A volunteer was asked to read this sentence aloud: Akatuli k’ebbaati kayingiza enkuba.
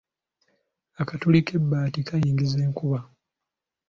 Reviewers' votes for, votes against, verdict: 2, 0, accepted